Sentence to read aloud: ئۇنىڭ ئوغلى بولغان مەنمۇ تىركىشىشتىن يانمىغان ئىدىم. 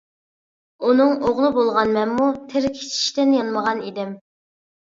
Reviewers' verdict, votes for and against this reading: accepted, 2, 0